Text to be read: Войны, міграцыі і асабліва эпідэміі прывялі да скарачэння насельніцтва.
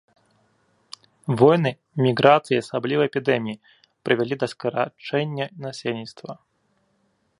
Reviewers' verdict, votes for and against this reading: rejected, 1, 2